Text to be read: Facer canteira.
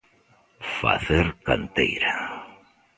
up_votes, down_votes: 2, 0